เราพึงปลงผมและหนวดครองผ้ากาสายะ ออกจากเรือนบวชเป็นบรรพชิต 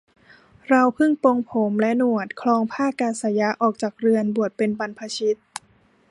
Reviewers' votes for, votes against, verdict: 0, 3, rejected